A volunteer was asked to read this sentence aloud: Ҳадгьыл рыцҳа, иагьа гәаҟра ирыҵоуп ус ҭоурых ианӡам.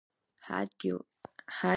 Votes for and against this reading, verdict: 0, 2, rejected